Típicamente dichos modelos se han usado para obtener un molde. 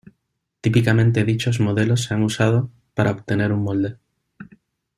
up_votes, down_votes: 2, 0